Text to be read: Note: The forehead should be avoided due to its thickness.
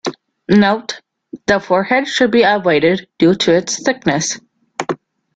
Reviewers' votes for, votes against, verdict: 2, 0, accepted